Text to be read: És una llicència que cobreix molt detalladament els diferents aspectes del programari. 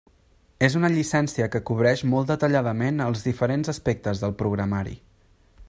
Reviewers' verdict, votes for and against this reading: accepted, 3, 0